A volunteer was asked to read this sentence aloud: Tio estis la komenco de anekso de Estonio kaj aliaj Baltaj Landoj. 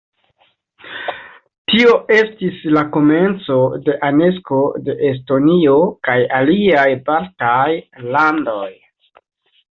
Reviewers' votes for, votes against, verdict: 2, 0, accepted